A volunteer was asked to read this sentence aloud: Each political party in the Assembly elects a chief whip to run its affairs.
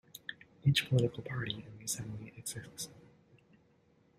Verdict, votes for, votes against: rejected, 0, 2